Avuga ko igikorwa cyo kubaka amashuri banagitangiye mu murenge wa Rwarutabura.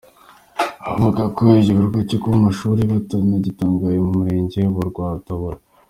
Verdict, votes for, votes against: accepted, 3, 2